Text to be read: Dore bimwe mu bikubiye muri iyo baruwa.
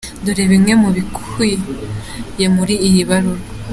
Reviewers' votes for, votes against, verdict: 3, 1, accepted